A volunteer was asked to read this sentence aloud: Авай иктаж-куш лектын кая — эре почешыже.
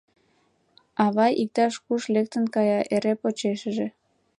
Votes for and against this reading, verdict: 2, 1, accepted